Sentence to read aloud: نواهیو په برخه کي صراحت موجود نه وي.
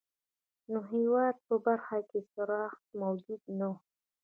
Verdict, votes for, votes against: rejected, 2, 3